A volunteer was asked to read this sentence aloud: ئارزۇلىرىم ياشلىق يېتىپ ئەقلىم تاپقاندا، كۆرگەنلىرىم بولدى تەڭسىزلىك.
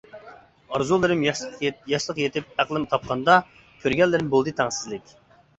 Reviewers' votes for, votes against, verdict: 2, 0, accepted